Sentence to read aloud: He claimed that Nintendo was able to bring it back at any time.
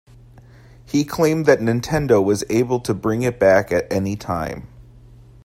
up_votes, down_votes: 2, 0